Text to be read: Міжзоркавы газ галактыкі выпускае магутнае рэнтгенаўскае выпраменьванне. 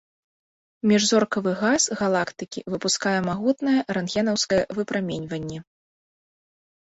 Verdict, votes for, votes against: accepted, 2, 0